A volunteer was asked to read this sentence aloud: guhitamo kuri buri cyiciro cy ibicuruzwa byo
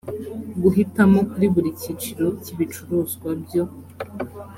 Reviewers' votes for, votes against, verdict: 2, 0, accepted